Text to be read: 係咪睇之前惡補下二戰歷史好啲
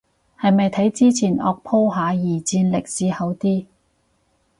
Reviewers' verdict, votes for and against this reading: rejected, 0, 2